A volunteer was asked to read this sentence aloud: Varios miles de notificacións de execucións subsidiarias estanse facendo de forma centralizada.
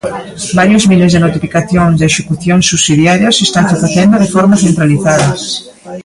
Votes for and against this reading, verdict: 0, 2, rejected